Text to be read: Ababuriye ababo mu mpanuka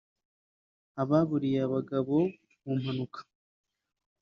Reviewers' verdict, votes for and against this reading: rejected, 0, 3